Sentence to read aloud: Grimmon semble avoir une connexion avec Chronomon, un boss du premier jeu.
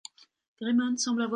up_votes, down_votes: 0, 2